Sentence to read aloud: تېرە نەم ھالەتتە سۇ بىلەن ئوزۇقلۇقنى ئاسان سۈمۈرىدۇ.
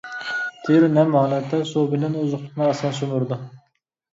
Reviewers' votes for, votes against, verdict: 2, 1, accepted